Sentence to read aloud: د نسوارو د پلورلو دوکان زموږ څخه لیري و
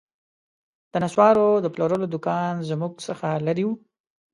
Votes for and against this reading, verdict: 2, 0, accepted